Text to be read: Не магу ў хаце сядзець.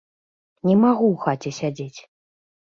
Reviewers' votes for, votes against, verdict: 2, 0, accepted